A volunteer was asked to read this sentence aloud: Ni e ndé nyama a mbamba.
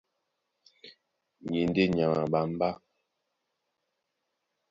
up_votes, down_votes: 2, 0